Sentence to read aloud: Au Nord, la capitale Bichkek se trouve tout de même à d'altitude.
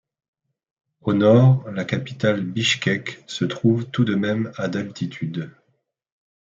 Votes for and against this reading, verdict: 2, 0, accepted